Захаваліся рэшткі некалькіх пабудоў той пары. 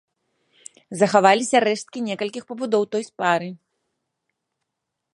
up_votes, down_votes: 1, 2